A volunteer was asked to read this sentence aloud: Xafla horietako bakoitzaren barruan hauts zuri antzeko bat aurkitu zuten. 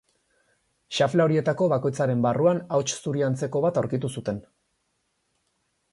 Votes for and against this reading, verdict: 4, 0, accepted